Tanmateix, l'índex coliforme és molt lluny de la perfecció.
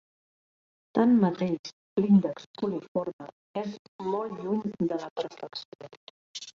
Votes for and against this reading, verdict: 1, 2, rejected